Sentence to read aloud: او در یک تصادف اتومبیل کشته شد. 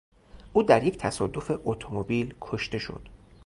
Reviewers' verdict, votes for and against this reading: accepted, 2, 0